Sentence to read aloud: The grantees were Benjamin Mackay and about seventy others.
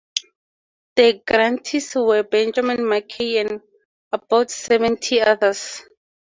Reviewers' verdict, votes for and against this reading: accepted, 4, 0